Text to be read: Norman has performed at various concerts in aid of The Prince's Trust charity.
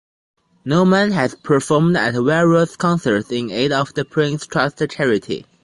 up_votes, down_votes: 1, 2